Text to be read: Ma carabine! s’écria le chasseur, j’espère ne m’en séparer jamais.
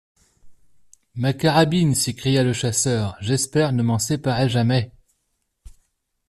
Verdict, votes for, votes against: accepted, 2, 0